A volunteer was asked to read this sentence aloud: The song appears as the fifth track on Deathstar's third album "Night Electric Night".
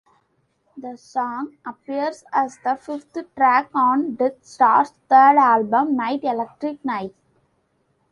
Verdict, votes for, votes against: rejected, 0, 2